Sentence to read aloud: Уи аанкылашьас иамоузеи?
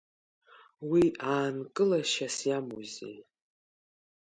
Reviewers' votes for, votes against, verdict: 2, 0, accepted